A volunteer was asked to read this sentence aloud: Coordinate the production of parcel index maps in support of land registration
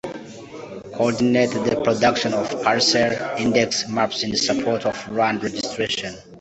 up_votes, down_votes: 1, 2